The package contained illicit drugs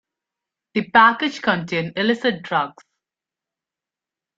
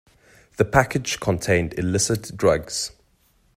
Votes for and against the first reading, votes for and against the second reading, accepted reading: 1, 2, 2, 0, second